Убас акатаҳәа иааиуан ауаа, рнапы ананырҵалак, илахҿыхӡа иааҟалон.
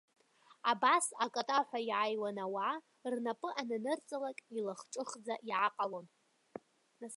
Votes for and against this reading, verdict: 0, 3, rejected